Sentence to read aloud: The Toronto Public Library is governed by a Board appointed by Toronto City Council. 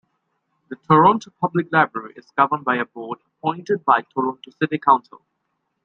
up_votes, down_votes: 0, 2